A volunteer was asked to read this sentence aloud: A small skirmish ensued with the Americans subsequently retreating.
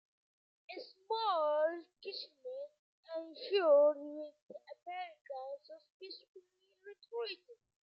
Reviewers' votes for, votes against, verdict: 0, 2, rejected